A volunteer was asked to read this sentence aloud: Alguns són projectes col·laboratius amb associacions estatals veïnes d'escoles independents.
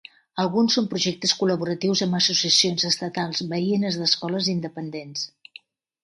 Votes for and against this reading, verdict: 3, 0, accepted